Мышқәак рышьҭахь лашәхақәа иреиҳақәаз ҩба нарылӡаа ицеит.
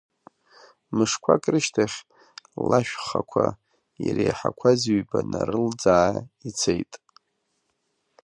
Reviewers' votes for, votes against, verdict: 0, 2, rejected